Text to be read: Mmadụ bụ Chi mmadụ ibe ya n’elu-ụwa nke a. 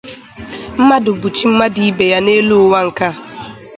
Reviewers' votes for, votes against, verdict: 2, 0, accepted